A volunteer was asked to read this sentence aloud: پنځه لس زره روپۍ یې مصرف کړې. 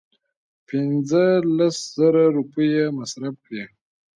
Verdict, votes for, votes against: accepted, 2, 0